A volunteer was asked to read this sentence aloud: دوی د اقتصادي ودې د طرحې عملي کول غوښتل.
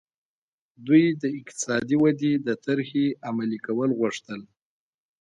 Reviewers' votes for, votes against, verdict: 2, 0, accepted